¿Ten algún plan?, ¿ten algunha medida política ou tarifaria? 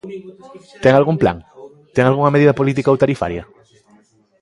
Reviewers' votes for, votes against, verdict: 2, 1, accepted